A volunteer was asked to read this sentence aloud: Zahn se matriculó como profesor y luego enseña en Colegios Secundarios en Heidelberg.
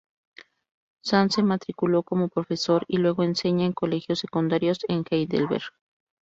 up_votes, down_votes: 4, 0